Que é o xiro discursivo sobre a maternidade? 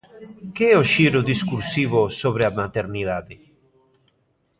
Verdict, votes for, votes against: accepted, 2, 0